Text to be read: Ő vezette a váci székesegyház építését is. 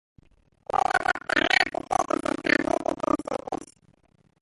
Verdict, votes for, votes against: rejected, 0, 2